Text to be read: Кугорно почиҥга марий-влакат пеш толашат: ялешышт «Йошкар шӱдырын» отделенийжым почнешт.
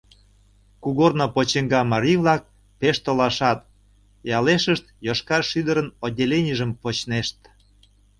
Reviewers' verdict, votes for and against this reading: rejected, 0, 2